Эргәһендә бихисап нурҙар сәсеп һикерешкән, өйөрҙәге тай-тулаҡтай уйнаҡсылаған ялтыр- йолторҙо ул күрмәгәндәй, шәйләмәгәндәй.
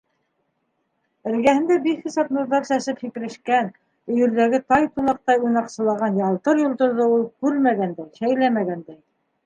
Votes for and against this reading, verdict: 2, 3, rejected